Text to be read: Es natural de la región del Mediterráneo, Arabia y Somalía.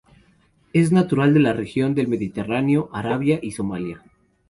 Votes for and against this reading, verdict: 2, 0, accepted